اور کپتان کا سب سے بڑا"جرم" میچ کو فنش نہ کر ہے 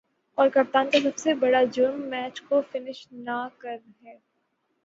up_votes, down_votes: 3, 0